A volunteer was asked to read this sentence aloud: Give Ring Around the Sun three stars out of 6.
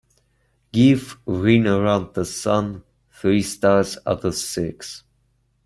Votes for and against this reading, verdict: 0, 2, rejected